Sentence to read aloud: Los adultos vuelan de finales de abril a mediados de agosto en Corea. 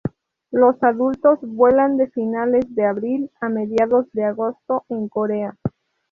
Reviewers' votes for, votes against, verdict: 2, 0, accepted